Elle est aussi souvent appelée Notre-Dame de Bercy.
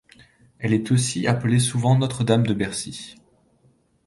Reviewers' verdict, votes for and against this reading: rejected, 1, 2